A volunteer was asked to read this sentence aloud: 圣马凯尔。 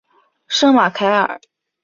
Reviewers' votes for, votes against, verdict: 2, 0, accepted